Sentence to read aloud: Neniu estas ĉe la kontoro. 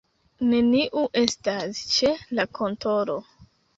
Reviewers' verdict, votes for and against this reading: rejected, 1, 2